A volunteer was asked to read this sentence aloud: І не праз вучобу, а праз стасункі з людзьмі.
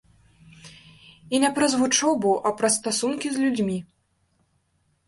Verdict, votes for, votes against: accepted, 2, 0